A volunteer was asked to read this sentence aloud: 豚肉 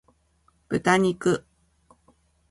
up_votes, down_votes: 2, 0